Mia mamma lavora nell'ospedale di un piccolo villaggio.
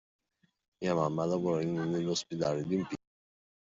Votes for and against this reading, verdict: 0, 2, rejected